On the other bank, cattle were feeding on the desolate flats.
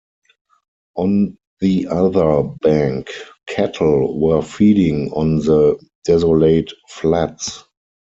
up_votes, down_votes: 0, 4